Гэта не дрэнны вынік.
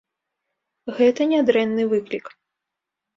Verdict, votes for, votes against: rejected, 1, 2